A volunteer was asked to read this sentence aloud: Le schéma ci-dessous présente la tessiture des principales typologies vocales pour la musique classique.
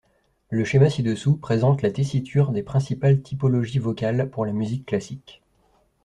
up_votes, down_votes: 2, 0